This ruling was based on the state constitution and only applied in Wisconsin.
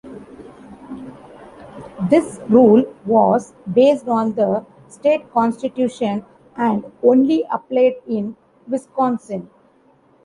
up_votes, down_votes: 0, 2